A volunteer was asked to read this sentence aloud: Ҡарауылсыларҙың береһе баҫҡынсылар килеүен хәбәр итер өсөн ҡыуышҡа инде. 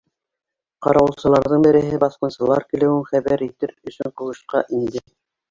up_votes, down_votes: 0, 2